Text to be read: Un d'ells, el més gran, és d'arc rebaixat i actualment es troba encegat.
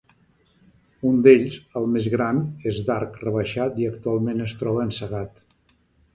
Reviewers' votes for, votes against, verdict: 2, 0, accepted